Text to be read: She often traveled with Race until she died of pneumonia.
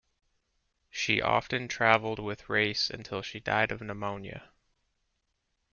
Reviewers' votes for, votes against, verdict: 2, 0, accepted